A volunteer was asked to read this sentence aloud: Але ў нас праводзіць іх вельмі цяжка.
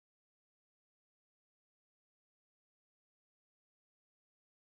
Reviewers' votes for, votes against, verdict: 1, 2, rejected